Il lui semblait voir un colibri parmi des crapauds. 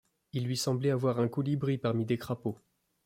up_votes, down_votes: 1, 2